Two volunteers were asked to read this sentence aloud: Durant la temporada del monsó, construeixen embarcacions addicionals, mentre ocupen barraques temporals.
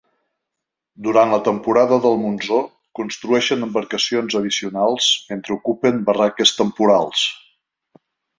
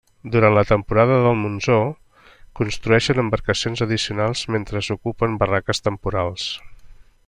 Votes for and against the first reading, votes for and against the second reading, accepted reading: 3, 0, 1, 2, first